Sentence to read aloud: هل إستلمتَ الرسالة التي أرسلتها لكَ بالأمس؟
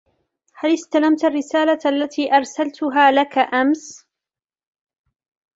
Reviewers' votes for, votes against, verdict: 0, 2, rejected